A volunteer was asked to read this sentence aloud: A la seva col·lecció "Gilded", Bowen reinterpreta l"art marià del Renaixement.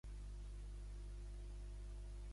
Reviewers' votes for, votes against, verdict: 0, 3, rejected